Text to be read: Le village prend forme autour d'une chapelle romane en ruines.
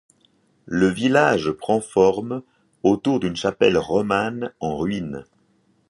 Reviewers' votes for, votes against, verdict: 2, 0, accepted